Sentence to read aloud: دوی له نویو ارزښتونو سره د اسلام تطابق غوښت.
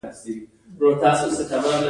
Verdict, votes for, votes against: rejected, 1, 2